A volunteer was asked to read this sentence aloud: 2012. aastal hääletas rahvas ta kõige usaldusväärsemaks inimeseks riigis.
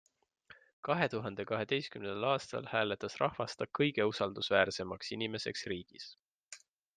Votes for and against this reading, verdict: 0, 2, rejected